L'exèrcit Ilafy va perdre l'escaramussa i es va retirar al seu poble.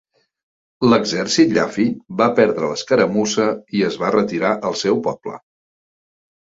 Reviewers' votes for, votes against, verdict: 0, 2, rejected